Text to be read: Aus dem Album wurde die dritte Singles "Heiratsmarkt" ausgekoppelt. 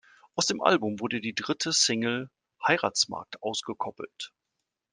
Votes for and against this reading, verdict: 1, 2, rejected